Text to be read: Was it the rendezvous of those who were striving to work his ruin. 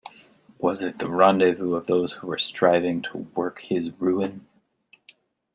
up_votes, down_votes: 2, 0